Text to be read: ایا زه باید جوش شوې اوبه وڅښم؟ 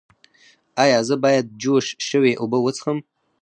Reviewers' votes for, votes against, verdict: 0, 4, rejected